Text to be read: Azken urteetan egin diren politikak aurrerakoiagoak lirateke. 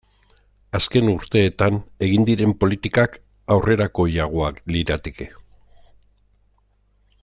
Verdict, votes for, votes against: accepted, 2, 0